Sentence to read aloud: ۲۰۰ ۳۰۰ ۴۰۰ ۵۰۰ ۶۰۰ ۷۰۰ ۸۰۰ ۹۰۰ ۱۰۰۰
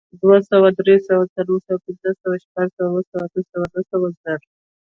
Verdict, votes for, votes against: rejected, 0, 2